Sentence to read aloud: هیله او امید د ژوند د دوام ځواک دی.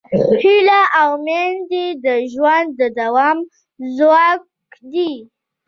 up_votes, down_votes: 2, 1